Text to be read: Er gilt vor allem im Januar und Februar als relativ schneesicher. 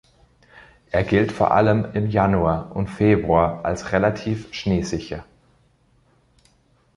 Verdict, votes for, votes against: accepted, 3, 0